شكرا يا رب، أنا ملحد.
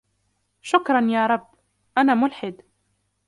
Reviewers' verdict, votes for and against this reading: rejected, 0, 2